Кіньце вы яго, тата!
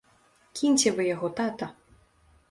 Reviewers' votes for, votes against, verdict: 2, 0, accepted